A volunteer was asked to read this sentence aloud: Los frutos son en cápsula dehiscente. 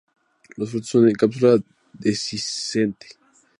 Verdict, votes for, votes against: accepted, 4, 0